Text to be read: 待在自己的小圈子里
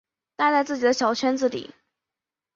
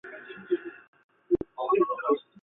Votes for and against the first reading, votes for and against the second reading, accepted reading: 2, 0, 1, 3, first